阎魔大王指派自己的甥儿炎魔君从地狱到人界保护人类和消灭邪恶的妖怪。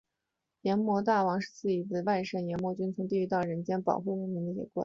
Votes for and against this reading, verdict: 4, 1, accepted